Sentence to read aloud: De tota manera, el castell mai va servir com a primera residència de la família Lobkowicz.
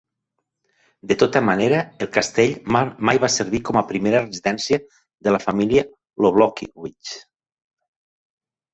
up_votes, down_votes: 0, 3